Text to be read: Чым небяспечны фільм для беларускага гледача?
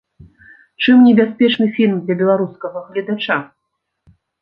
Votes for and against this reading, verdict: 2, 0, accepted